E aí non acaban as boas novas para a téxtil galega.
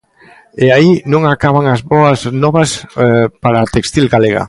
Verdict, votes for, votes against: rejected, 0, 2